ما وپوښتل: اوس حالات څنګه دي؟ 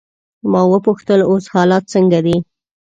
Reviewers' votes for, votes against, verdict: 2, 0, accepted